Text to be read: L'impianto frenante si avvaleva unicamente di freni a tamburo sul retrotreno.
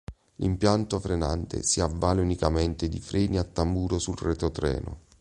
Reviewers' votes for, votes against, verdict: 1, 4, rejected